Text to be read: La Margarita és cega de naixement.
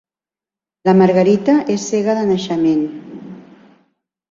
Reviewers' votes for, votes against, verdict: 4, 0, accepted